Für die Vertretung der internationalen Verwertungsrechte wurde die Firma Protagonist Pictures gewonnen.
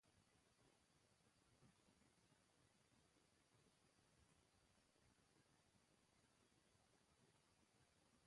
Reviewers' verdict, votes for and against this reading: rejected, 0, 2